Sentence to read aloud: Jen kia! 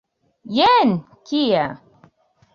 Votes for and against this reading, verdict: 2, 0, accepted